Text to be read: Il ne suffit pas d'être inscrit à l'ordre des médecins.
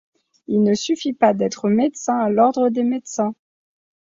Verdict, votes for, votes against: rejected, 1, 2